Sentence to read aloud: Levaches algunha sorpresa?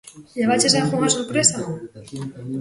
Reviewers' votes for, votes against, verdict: 2, 0, accepted